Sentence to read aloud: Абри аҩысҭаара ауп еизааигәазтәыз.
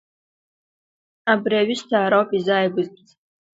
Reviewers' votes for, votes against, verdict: 2, 1, accepted